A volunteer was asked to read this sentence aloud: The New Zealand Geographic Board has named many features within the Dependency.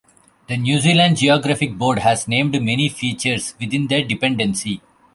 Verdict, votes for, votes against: accepted, 3, 2